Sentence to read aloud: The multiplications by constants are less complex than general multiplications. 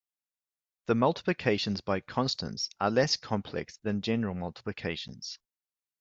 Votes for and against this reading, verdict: 2, 0, accepted